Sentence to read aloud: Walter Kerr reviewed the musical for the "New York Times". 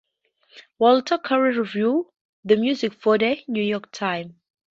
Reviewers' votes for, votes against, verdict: 0, 2, rejected